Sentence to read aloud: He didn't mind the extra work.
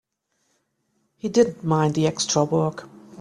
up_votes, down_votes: 3, 0